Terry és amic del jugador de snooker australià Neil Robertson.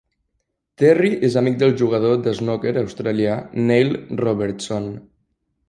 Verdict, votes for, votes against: accepted, 2, 0